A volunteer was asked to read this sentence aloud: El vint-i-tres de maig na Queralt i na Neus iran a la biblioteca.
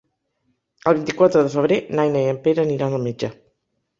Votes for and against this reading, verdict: 0, 2, rejected